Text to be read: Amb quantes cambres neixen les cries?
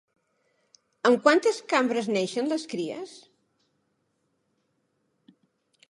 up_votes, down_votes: 2, 0